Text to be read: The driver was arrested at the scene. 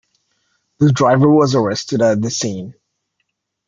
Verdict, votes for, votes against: accepted, 2, 0